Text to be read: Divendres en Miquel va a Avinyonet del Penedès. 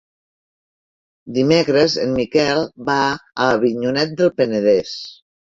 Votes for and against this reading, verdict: 0, 4, rejected